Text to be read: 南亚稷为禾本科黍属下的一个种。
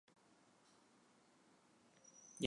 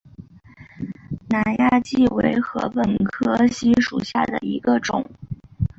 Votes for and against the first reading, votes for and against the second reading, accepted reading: 0, 3, 2, 1, second